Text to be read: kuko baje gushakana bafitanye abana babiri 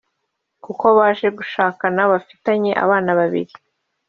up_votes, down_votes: 1, 2